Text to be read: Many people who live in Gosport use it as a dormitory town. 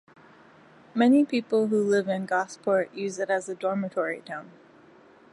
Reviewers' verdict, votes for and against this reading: accepted, 2, 1